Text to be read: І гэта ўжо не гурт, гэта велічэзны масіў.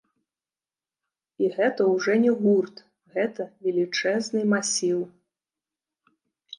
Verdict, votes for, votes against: rejected, 2, 3